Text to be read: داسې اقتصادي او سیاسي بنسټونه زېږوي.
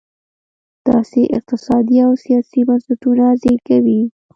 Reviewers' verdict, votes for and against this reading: accepted, 2, 1